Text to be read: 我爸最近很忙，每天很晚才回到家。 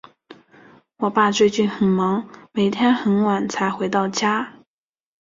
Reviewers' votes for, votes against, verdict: 3, 0, accepted